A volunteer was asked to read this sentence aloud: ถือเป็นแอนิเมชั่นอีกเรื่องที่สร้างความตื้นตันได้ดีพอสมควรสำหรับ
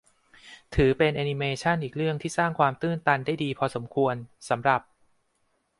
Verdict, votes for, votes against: accepted, 2, 0